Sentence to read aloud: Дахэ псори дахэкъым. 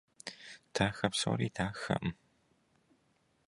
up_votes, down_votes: 2, 0